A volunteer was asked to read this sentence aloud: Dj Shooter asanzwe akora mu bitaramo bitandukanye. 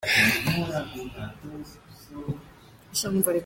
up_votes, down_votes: 0, 3